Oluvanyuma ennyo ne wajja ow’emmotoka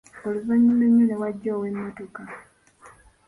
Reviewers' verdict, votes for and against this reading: accepted, 2, 0